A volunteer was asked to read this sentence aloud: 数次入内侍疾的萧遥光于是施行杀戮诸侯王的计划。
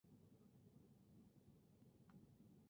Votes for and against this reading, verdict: 1, 4, rejected